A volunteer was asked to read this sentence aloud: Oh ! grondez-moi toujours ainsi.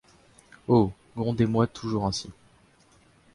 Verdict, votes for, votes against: accepted, 2, 1